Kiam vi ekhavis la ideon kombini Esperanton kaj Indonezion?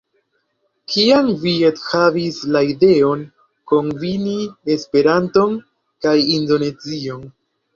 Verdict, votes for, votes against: rejected, 1, 2